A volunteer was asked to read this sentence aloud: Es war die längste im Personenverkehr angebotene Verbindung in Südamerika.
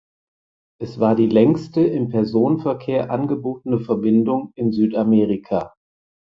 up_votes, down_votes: 4, 0